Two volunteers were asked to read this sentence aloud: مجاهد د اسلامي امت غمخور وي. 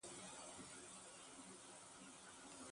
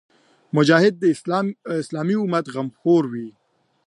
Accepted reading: second